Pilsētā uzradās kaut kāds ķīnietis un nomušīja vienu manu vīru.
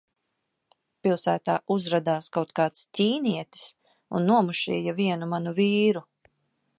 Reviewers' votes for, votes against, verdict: 2, 0, accepted